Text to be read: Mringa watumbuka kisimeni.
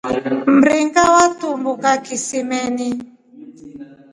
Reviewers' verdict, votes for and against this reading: accepted, 2, 0